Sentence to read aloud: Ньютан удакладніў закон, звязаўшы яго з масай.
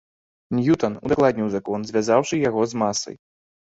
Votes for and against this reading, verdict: 2, 3, rejected